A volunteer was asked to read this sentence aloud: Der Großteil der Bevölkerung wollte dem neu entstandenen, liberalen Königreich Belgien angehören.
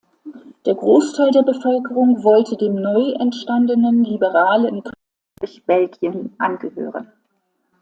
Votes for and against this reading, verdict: 0, 2, rejected